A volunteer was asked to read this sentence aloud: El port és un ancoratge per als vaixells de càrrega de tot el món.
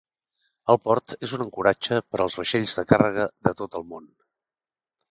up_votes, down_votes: 3, 0